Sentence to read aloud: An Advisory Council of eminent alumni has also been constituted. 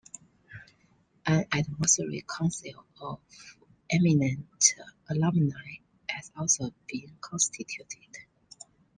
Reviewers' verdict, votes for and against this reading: accepted, 2, 0